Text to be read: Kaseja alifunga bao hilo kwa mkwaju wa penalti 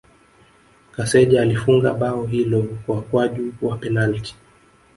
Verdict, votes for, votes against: rejected, 1, 2